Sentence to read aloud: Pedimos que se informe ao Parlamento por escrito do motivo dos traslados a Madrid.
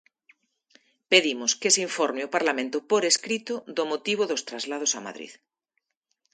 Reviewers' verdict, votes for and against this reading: accepted, 2, 0